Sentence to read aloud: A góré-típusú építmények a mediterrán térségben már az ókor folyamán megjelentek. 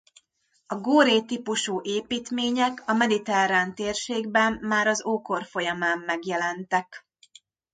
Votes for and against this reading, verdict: 2, 1, accepted